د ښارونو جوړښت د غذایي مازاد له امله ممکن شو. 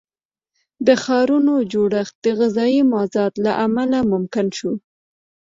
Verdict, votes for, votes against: accepted, 2, 0